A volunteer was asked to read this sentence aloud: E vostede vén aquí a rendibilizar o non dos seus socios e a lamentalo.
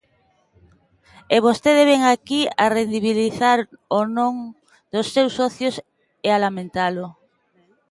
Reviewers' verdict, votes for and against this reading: rejected, 1, 2